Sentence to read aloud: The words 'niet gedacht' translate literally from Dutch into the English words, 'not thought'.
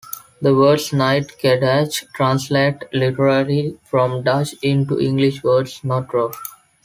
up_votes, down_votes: 2, 0